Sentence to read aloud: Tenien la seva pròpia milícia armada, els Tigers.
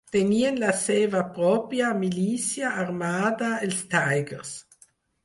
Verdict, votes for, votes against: accepted, 4, 0